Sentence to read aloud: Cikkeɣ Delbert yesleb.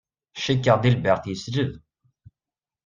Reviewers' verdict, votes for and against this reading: accepted, 2, 0